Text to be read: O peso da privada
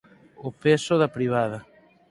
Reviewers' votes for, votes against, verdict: 4, 0, accepted